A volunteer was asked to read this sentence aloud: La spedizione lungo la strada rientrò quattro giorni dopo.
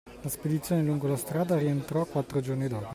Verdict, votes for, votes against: accepted, 2, 1